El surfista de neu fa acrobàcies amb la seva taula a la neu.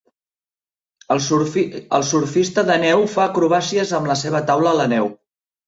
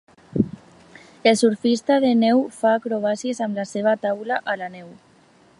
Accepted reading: second